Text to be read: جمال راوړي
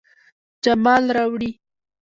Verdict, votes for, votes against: rejected, 1, 2